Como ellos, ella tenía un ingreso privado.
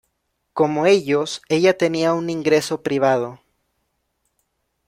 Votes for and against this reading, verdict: 2, 0, accepted